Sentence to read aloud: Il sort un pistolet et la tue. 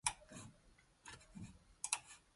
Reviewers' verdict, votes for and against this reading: rejected, 1, 2